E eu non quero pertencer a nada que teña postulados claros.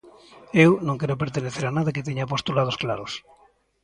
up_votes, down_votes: 0, 2